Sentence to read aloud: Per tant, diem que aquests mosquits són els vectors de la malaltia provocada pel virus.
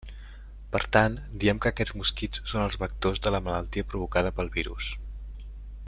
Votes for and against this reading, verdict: 2, 0, accepted